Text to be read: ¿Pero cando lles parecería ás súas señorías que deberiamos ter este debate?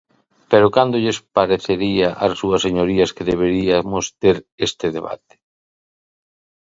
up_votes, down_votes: 1, 2